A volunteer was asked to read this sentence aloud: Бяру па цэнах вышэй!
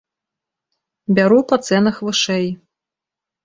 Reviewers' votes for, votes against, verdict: 2, 0, accepted